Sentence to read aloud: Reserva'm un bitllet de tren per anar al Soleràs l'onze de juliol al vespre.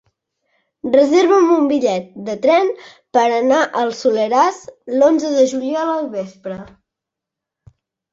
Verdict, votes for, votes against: accepted, 4, 0